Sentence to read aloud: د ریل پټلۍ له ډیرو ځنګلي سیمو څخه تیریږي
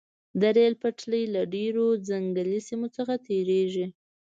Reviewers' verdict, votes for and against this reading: accepted, 2, 0